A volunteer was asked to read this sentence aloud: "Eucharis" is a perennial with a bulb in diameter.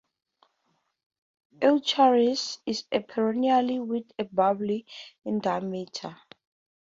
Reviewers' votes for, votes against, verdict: 2, 0, accepted